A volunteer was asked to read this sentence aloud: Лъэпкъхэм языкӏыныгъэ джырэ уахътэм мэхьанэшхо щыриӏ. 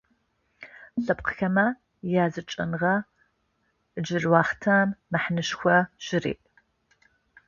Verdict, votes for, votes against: rejected, 0, 2